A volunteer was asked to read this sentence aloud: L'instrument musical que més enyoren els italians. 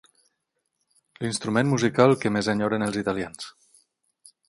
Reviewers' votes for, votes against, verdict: 18, 0, accepted